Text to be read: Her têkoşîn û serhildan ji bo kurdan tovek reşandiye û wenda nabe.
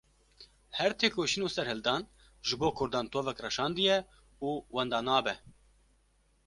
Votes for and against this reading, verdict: 2, 0, accepted